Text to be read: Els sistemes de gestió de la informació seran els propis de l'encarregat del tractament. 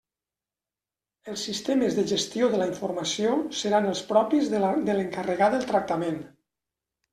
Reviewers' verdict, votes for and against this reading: rejected, 1, 2